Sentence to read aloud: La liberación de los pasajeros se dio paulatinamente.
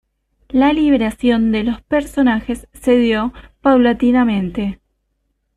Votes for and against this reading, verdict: 1, 2, rejected